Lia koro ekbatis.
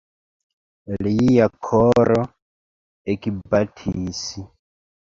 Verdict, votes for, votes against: accepted, 2, 0